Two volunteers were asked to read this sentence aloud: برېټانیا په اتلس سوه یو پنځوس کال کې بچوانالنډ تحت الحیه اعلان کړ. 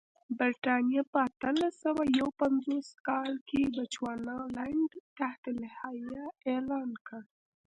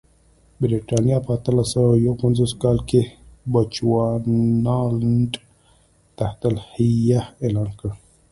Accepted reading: first